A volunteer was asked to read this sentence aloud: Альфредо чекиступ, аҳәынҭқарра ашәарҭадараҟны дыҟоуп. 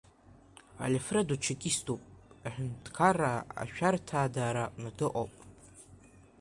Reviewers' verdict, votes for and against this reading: rejected, 1, 2